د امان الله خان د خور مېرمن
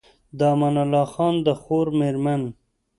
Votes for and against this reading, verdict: 3, 0, accepted